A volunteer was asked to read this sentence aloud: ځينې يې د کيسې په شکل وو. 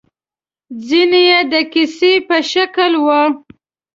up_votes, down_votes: 2, 0